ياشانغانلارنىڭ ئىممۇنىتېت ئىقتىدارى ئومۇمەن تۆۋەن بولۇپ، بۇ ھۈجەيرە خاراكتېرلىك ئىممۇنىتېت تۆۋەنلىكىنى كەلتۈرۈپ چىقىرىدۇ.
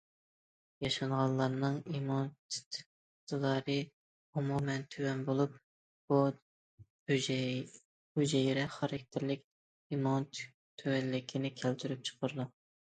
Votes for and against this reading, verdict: 0, 2, rejected